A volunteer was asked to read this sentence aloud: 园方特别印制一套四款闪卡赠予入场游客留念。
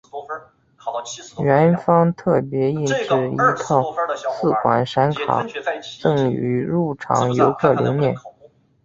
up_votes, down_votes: 3, 2